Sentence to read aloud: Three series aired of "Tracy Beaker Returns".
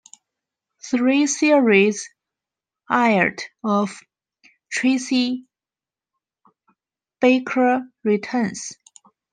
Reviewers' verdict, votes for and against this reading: rejected, 0, 3